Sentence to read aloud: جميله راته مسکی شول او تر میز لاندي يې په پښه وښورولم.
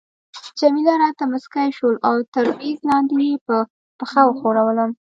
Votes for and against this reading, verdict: 2, 0, accepted